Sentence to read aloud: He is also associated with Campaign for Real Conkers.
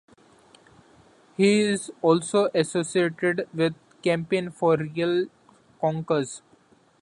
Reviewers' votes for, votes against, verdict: 2, 0, accepted